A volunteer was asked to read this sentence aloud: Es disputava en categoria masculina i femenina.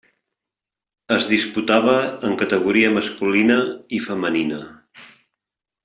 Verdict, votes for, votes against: accepted, 3, 0